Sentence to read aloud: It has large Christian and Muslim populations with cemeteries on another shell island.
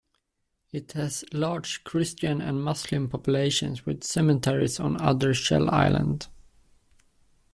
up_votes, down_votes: 2, 0